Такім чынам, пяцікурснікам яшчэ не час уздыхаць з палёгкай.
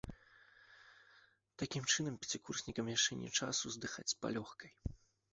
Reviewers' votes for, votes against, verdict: 0, 3, rejected